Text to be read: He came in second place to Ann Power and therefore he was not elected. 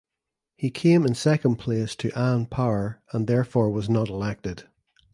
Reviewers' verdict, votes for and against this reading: rejected, 1, 2